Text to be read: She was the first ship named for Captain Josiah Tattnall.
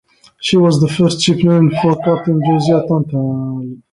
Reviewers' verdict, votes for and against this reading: rejected, 0, 2